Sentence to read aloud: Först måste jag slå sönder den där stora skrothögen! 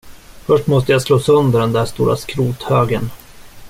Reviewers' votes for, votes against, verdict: 2, 0, accepted